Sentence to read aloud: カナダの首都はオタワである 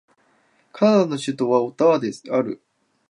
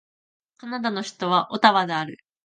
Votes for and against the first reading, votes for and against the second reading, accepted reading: 1, 2, 2, 0, second